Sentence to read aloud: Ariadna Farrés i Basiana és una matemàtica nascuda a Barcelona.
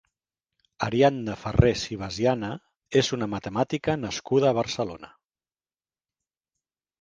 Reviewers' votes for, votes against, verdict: 3, 0, accepted